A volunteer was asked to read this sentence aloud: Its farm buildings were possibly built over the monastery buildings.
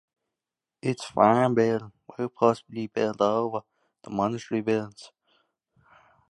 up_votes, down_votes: 2, 1